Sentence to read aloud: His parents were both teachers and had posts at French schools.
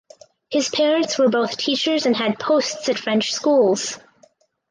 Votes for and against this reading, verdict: 4, 0, accepted